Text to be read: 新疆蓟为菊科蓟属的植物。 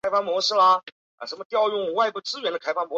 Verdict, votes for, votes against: rejected, 0, 2